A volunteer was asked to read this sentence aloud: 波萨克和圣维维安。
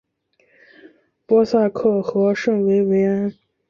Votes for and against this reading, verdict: 3, 0, accepted